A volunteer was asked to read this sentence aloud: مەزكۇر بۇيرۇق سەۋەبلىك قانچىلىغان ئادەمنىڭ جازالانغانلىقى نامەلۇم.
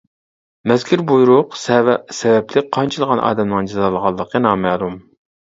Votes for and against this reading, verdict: 0, 2, rejected